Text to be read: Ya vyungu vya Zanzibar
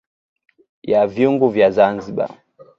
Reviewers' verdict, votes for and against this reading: accepted, 2, 0